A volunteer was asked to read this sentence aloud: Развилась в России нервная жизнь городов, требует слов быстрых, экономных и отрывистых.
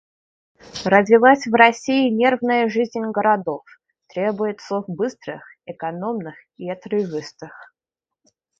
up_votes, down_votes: 1, 2